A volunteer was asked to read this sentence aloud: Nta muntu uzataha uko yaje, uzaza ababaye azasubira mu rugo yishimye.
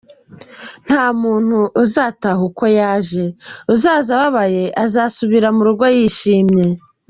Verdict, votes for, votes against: accepted, 2, 0